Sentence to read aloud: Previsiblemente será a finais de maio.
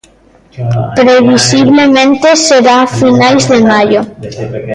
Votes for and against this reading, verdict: 0, 2, rejected